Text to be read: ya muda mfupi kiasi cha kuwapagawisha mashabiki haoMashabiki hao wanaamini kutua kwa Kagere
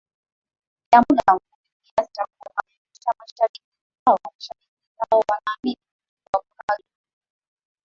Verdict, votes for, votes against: rejected, 0, 2